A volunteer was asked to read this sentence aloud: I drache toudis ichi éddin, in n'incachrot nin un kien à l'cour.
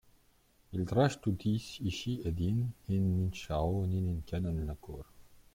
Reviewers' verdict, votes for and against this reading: rejected, 0, 2